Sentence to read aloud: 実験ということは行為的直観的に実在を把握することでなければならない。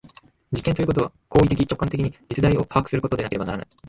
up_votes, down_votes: 3, 0